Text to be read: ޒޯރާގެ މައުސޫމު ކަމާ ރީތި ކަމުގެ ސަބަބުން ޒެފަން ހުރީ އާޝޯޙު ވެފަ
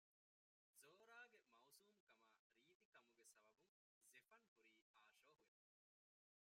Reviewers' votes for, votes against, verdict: 0, 2, rejected